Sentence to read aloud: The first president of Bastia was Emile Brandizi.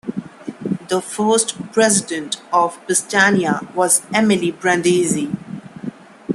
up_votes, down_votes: 1, 2